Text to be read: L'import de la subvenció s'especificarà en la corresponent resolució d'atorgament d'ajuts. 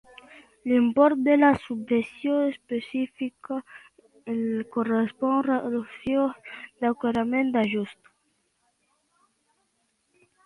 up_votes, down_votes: 0, 2